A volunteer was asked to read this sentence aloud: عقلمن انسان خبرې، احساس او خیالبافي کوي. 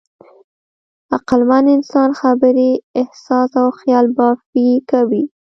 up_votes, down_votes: 1, 2